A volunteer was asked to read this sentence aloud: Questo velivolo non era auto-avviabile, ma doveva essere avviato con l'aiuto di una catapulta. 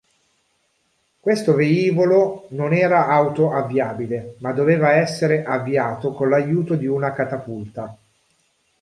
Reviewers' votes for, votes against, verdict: 0, 2, rejected